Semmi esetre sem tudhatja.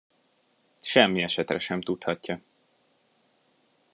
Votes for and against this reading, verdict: 2, 0, accepted